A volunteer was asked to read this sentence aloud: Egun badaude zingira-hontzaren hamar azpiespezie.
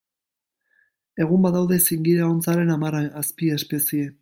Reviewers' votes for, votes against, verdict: 1, 2, rejected